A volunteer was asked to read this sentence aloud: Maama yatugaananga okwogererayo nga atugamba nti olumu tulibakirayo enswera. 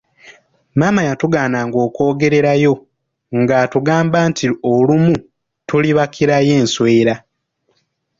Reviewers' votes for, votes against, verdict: 2, 0, accepted